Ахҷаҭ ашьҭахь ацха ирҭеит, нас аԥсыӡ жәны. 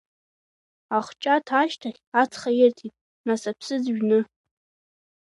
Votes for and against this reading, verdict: 2, 1, accepted